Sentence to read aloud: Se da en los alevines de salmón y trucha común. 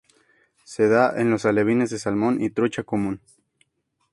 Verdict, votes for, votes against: accepted, 2, 0